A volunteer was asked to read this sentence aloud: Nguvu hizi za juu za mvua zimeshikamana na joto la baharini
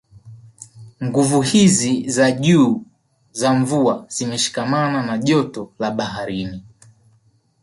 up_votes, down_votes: 3, 0